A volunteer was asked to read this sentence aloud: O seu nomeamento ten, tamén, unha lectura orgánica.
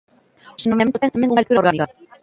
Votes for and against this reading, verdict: 0, 2, rejected